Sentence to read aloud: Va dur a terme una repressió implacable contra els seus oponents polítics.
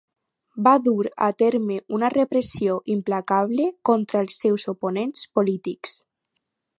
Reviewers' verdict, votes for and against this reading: accepted, 4, 0